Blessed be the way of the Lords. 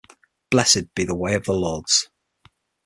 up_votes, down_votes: 6, 0